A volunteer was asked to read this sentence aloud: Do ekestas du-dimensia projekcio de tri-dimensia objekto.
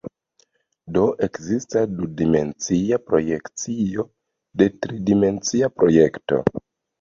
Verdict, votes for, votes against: accepted, 2, 0